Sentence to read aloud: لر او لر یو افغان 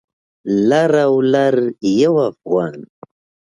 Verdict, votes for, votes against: accepted, 2, 1